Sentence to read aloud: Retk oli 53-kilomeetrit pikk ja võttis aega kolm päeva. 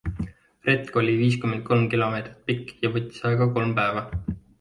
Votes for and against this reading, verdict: 0, 2, rejected